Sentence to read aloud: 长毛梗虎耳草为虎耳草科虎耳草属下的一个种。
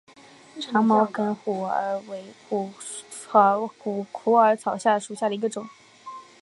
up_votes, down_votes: 0, 2